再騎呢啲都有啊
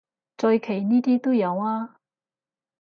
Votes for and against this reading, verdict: 2, 2, rejected